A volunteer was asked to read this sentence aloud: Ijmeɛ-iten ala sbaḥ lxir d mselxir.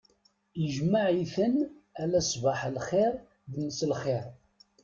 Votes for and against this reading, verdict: 2, 0, accepted